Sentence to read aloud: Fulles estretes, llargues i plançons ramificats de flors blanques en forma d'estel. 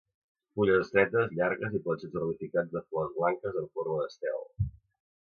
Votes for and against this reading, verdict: 0, 2, rejected